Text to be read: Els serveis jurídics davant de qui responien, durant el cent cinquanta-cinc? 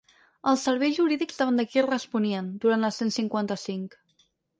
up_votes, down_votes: 0, 4